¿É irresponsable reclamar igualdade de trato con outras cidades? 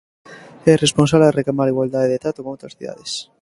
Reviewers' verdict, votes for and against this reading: rejected, 0, 2